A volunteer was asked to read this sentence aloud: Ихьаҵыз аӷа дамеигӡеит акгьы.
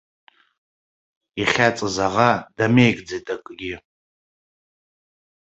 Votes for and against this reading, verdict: 2, 0, accepted